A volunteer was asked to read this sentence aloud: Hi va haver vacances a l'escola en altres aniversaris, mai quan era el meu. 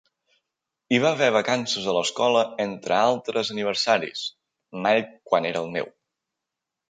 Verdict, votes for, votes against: rejected, 1, 2